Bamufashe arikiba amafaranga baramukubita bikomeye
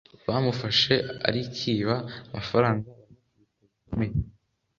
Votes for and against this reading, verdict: 1, 2, rejected